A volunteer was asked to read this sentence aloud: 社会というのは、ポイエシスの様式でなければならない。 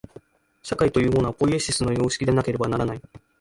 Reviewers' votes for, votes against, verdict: 2, 1, accepted